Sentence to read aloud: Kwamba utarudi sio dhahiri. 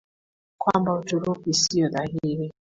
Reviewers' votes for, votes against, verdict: 2, 0, accepted